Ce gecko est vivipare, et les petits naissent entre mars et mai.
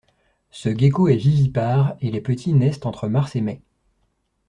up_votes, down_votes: 0, 2